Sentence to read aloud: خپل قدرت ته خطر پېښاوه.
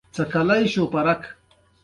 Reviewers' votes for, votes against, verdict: 2, 1, accepted